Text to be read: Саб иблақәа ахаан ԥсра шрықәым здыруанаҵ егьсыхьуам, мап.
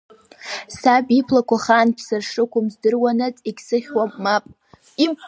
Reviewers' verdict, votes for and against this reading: accepted, 6, 4